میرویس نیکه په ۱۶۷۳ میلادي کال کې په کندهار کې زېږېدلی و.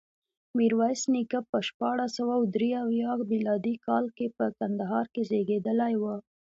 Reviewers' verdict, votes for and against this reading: rejected, 0, 2